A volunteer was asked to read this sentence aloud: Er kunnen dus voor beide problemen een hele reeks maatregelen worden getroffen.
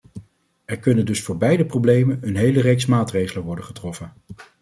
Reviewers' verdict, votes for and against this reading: accepted, 2, 0